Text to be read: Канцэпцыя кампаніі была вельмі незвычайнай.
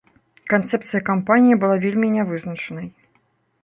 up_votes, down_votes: 0, 2